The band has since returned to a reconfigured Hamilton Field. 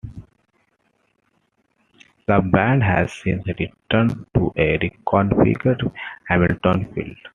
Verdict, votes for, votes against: accepted, 2, 1